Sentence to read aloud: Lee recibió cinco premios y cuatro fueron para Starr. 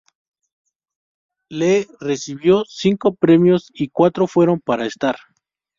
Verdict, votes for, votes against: accepted, 2, 0